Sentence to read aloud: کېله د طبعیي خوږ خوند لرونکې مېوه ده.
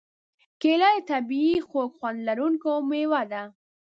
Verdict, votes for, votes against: rejected, 1, 2